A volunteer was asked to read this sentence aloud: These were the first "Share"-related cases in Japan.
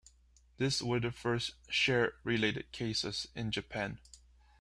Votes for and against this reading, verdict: 1, 2, rejected